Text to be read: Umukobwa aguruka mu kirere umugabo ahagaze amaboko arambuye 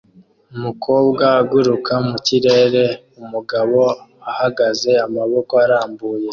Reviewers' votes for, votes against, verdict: 2, 0, accepted